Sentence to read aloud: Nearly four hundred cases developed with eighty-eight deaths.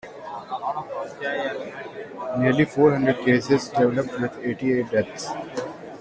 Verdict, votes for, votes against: accepted, 2, 1